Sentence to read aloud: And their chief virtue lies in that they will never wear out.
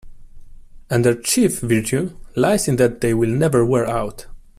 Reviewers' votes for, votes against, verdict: 2, 0, accepted